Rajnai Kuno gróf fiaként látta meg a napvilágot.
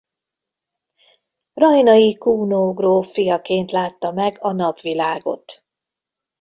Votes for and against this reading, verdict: 2, 1, accepted